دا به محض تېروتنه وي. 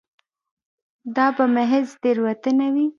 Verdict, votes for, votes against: rejected, 1, 2